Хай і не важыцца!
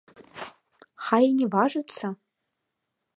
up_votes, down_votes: 2, 1